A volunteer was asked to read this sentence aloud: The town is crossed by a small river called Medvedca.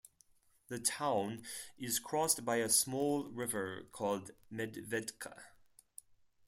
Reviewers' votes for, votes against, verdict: 4, 0, accepted